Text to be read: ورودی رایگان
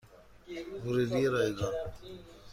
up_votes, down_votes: 2, 0